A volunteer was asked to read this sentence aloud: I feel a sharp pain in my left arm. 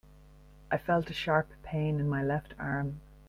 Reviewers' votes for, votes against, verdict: 1, 2, rejected